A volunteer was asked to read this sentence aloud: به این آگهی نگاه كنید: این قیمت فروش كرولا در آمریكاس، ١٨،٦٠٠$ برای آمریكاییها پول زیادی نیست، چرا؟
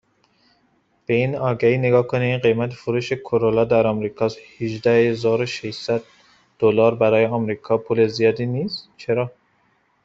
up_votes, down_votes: 0, 2